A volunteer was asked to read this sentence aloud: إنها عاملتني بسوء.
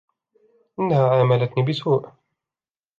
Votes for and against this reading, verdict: 2, 0, accepted